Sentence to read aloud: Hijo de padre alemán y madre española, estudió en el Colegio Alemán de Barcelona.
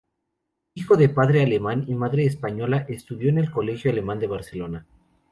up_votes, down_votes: 2, 0